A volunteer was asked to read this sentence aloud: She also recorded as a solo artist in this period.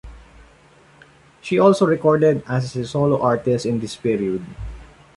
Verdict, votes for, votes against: accepted, 2, 0